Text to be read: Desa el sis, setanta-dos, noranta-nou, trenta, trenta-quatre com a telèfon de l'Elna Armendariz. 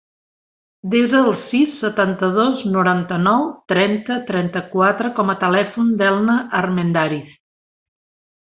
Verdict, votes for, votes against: rejected, 1, 2